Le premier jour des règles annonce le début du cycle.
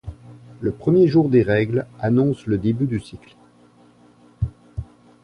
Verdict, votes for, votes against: rejected, 0, 2